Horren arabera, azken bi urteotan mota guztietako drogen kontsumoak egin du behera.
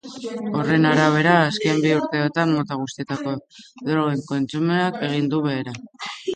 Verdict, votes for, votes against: accepted, 2, 1